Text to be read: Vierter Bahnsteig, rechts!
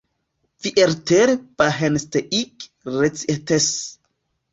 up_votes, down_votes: 0, 2